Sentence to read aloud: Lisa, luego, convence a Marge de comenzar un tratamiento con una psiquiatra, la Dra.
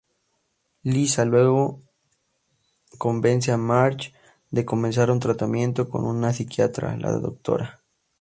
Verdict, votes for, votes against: accepted, 2, 0